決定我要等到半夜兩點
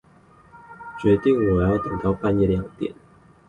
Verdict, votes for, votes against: rejected, 2, 2